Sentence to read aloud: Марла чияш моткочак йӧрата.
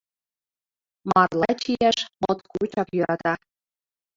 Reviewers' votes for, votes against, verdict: 2, 0, accepted